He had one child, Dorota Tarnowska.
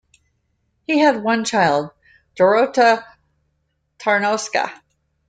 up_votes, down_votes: 2, 0